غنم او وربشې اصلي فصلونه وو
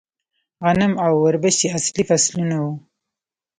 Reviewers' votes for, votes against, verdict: 0, 2, rejected